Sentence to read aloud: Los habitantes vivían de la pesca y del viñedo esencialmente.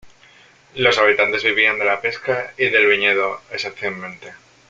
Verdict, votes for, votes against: accepted, 2, 1